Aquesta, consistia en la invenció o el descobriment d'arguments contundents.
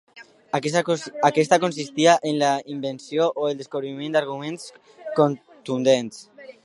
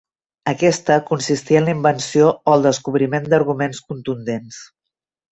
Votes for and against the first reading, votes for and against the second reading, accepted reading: 0, 2, 2, 0, second